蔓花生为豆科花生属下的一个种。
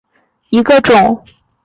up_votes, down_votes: 1, 2